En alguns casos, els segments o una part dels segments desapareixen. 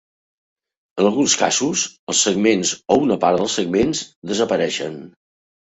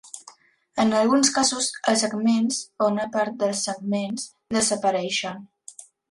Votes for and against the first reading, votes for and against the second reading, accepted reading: 2, 0, 1, 2, first